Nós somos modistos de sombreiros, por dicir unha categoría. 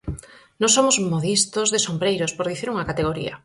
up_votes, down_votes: 4, 0